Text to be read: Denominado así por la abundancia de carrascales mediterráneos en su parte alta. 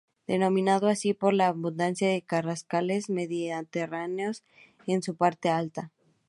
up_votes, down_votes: 2, 2